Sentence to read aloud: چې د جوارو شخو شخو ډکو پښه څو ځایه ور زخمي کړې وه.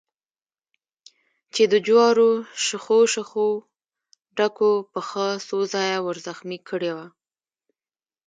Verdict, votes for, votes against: accepted, 2, 0